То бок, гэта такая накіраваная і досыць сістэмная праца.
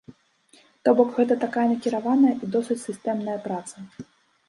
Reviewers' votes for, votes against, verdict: 2, 0, accepted